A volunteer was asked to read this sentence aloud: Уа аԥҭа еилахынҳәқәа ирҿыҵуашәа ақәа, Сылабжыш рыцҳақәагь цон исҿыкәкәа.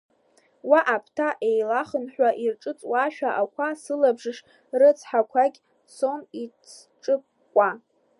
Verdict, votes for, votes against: rejected, 1, 2